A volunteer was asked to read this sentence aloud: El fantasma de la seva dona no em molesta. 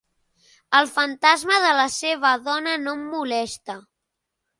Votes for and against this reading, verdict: 3, 0, accepted